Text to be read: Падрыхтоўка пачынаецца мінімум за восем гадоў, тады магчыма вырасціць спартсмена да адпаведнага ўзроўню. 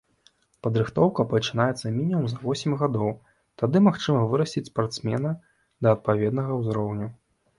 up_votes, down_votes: 3, 0